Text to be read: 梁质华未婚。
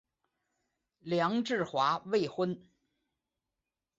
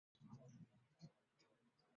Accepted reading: first